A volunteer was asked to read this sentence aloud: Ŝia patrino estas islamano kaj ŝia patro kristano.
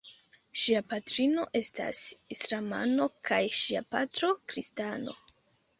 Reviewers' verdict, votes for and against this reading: accepted, 2, 1